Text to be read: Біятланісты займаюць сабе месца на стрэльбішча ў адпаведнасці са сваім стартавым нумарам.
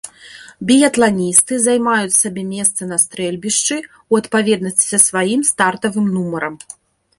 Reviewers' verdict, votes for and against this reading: rejected, 1, 2